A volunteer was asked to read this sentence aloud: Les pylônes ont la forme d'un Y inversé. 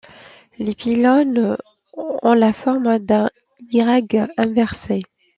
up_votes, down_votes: 2, 0